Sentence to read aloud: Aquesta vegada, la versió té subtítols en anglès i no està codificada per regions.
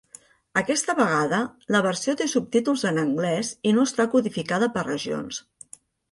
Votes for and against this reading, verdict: 3, 0, accepted